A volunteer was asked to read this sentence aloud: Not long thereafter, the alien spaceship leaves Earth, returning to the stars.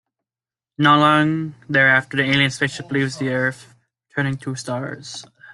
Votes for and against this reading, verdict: 1, 2, rejected